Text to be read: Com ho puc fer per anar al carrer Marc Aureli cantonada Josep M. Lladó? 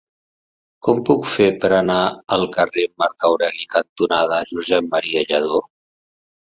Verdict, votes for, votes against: rejected, 1, 2